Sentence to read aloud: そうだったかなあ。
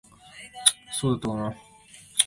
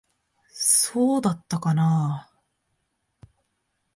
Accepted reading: second